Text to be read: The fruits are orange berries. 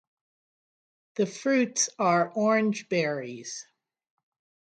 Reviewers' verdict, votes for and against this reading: accepted, 3, 0